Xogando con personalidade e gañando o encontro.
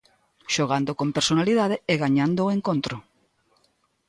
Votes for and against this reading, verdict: 2, 0, accepted